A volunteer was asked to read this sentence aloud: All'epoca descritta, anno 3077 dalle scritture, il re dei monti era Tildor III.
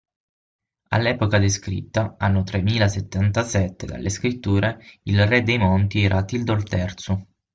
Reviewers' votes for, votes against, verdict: 0, 2, rejected